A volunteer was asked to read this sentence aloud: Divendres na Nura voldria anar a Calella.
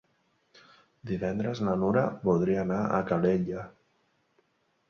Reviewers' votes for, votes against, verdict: 5, 0, accepted